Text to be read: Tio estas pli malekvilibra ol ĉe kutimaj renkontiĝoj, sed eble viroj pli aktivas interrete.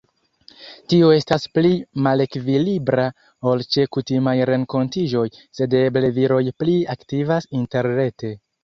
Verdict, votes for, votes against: accepted, 2, 0